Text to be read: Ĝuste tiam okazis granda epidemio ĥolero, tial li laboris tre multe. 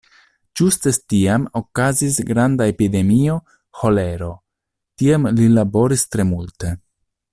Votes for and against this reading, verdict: 1, 2, rejected